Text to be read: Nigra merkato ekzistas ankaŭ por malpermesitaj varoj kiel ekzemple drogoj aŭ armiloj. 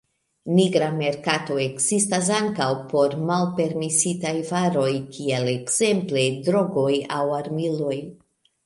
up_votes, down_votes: 2, 0